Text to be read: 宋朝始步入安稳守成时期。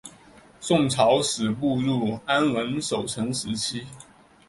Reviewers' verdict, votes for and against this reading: accepted, 5, 2